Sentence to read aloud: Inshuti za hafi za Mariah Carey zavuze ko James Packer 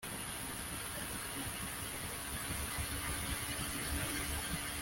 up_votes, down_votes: 0, 2